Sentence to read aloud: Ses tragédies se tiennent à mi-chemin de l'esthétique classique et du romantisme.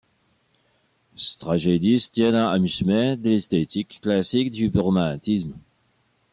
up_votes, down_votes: 0, 2